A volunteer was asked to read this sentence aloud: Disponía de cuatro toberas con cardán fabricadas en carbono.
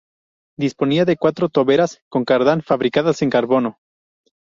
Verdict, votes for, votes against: accepted, 2, 0